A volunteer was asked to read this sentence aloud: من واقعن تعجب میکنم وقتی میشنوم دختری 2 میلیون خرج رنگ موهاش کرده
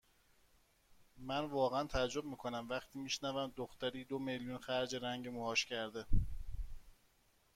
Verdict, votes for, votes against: rejected, 0, 2